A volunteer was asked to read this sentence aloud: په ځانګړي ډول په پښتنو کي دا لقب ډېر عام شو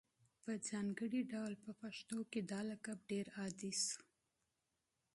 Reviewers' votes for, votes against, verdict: 2, 1, accepted